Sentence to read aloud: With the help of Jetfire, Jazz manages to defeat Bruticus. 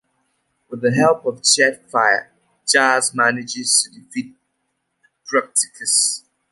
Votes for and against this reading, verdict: 2, 0, accepted